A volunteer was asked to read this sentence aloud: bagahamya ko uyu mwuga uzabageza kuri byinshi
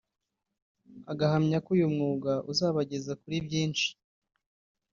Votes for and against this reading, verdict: 0, 2, rejected